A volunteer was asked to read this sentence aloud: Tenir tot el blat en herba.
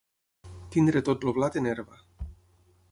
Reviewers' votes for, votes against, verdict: 0, 6, rejected